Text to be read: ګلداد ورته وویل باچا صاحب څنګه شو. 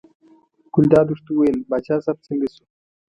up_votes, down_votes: 3, 1